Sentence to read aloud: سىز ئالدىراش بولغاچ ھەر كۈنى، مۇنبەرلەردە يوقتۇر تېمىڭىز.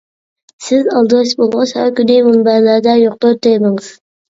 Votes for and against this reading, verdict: 2, 0, accepted